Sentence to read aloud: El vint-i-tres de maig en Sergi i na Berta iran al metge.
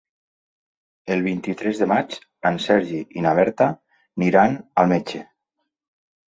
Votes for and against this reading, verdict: 0, 2, rejected